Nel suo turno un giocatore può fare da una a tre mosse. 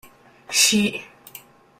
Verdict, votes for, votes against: rejected, 0, 2